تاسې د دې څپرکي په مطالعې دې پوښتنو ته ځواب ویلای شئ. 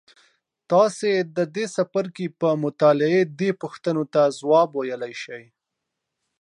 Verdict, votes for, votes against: rejected, 1, 2